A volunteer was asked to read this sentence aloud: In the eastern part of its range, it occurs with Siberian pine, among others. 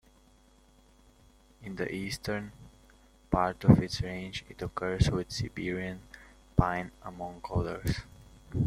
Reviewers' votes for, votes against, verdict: 2, 1, accepted